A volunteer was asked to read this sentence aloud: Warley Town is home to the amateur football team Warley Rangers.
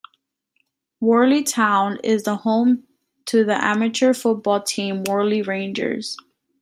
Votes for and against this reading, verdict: 2, 1, accepted